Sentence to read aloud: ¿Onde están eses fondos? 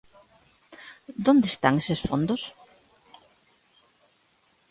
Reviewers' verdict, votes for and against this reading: rejected, 0, 2